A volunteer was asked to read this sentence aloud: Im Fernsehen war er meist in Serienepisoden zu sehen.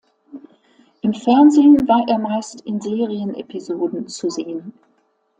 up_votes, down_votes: 2, 0